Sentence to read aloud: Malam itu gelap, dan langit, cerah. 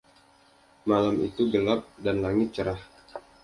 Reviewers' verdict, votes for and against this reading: accepted, 2, 0